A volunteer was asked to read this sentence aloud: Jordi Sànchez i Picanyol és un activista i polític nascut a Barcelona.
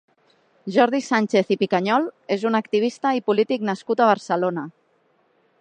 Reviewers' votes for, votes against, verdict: 3, 0, accepted